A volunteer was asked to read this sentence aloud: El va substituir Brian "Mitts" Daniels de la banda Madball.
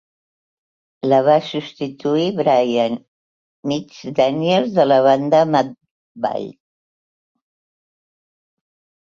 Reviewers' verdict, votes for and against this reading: rejected, 2, 4